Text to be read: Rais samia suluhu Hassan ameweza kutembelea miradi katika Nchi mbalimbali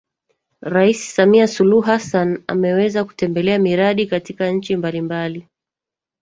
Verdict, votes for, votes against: rejected, 1, 2